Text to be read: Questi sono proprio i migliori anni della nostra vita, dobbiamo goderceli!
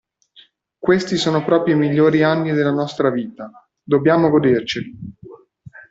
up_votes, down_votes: 2, 0